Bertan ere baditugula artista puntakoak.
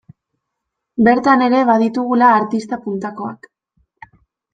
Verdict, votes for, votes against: accepted, 2, 0